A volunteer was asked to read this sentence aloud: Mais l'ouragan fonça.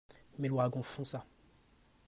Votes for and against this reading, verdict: 0, 2, rejected